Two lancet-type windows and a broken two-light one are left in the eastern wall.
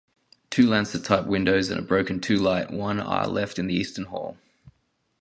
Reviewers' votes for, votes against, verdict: 0, 2, rejected